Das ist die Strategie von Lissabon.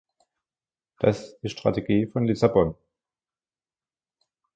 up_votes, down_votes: 0, 2